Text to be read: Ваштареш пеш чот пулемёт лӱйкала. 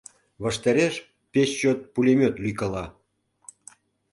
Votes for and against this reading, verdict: 2, 0, accepted